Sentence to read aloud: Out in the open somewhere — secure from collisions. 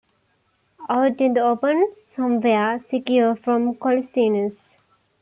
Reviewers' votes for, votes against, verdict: 1, 2, rejected